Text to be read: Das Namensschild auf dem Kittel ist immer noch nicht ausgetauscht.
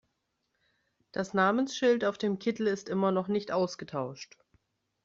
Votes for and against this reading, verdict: 2, 0, accepted